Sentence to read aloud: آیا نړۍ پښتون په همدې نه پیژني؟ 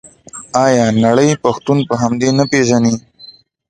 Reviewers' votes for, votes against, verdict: 2, 0, accepted